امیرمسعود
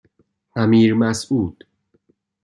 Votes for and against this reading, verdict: 2, 0, accepted